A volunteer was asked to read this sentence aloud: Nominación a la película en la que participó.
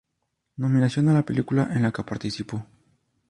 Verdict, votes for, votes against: accepted, 6, 0